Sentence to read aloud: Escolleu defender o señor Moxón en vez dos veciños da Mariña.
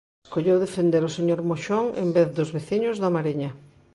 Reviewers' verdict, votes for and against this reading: rejected, 0, 2